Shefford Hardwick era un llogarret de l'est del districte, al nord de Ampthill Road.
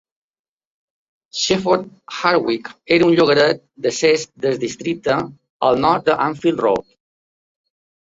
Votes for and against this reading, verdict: 1, 3, rejected